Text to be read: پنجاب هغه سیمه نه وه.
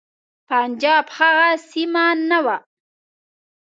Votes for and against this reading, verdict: 2, 0, accepted